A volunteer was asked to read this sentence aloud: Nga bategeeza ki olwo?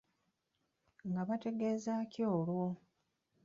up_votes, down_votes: 0, 2